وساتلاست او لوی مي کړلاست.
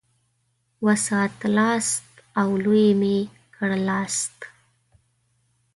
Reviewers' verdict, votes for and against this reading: accepted, 2, 0